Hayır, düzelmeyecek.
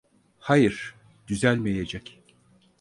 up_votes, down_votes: 4, 0